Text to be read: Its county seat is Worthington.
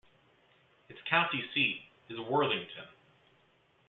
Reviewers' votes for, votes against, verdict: 2, 0, accepted